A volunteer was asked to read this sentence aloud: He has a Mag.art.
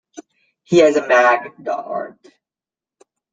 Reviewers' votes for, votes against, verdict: 1, 2, rejected